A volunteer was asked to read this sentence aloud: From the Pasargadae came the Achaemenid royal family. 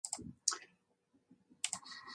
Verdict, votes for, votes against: rejected, 0, 2